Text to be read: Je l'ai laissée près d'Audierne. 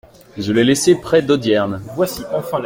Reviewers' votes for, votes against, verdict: 2, 1, accepted